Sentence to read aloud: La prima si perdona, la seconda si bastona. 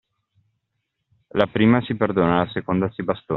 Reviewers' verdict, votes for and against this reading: rejected, 1, 2